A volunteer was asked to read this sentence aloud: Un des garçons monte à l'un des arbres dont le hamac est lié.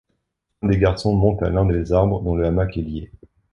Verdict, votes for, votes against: rejected, 1, 2